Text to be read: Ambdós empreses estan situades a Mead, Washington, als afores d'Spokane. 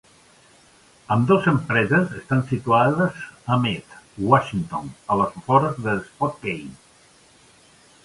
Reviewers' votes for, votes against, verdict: 1, 2, rejected